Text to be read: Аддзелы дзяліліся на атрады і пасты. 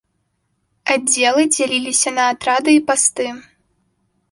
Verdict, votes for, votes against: accepted, 2, 0